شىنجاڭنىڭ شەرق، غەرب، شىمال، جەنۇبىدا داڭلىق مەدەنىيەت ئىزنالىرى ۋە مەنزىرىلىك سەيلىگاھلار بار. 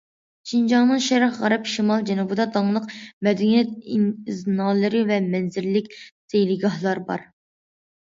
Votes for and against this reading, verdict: 2, 0, accepted